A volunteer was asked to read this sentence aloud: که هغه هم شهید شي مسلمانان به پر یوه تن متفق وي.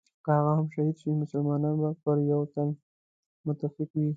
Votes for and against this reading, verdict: 0, 2, rejected